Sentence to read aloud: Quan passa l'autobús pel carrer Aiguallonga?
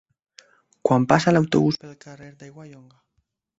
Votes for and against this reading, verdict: 0, 2, rejected